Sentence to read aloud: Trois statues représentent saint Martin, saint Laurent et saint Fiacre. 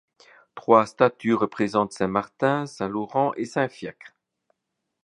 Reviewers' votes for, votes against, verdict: 2, 0, accepted